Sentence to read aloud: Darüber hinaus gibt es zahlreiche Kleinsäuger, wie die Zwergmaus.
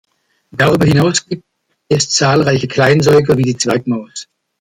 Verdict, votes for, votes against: rejected, 1, 2